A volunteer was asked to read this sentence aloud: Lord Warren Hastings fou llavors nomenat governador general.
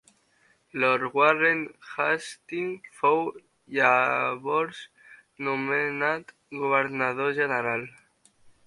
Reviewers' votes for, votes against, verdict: 1, 3, rejected